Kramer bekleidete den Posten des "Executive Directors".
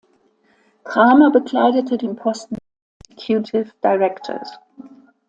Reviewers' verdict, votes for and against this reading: rejected, 0, 2